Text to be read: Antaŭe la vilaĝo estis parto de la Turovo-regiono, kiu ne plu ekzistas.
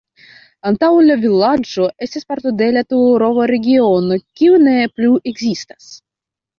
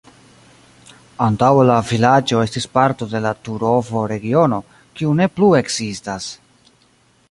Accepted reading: first